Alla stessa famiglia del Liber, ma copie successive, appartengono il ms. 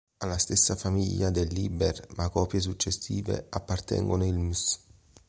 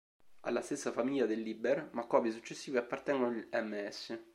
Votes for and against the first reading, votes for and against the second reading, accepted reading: 2, 0, 1, 2, first